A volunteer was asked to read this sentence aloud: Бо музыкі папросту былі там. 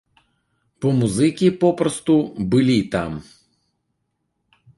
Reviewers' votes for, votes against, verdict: 0, 2, rejected